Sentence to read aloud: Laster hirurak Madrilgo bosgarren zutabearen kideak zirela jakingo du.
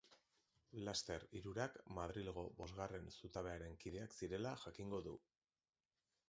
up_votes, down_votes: 0, 3